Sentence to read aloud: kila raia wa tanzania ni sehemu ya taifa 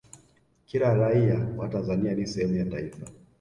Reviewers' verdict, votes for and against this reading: accepted, 2, 1